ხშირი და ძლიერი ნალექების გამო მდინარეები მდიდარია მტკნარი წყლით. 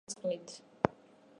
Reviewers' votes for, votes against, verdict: 0, 3, rejected